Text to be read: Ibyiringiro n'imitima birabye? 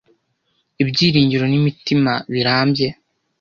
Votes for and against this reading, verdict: 1, 2, rejected